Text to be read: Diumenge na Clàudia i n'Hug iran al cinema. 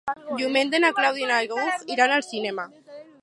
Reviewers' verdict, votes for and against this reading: rejected, 0, 4